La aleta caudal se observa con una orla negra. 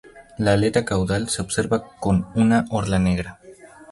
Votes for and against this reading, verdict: 0, 2, rejected